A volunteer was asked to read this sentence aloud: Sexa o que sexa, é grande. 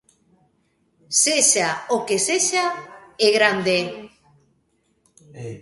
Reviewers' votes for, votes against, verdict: 1, 2, rejected